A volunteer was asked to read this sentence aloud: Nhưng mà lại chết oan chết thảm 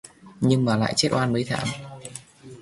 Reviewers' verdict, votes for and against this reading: rejected, 0, 2